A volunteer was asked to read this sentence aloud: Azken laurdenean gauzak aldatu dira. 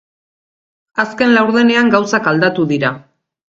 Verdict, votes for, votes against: accepted, 2, 0